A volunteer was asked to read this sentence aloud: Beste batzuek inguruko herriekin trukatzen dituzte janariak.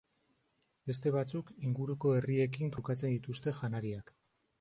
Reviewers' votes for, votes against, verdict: 1, 2, rejected